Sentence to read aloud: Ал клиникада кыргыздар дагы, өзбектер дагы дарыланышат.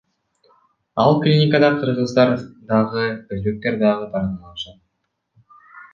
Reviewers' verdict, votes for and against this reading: rejected, 0, 2